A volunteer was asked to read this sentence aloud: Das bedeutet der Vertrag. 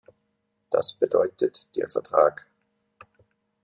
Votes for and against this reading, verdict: 2, 0, accepted